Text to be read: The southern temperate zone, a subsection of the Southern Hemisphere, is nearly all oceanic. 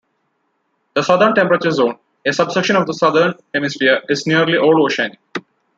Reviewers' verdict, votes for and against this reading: rejected, 0, 2